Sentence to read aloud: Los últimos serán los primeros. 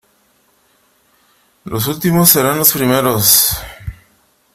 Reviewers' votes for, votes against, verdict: 3, 0, accepted